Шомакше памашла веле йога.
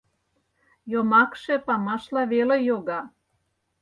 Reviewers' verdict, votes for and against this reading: rejected, 0, 4